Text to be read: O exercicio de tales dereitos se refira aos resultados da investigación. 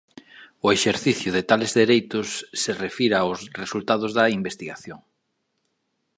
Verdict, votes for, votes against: rejected, 0, 2